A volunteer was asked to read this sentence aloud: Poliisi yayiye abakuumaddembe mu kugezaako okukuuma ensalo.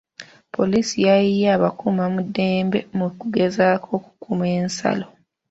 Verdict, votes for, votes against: accepted, 3, 1